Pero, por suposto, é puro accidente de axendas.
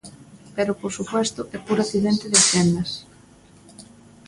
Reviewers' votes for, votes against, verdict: 0, 2, rejected